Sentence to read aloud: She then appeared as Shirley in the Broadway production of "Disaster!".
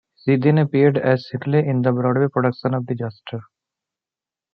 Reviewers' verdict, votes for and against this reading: accepted, 2, 1